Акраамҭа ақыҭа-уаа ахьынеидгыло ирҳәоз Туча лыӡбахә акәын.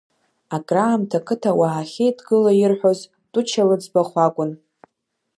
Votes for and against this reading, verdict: 1, 2, rejected